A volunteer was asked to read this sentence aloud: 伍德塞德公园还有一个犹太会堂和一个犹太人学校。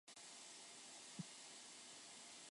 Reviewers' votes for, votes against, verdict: 0, 2, rejected